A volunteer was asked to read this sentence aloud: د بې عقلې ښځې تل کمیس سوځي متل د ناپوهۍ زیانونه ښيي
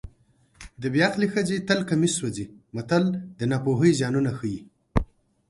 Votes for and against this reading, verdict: 2, 0, accepted